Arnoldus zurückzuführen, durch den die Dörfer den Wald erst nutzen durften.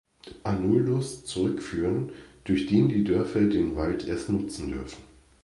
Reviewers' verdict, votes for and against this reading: rejected, 0, 2